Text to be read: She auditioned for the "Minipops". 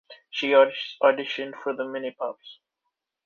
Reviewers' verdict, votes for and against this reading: rejected, 1, 2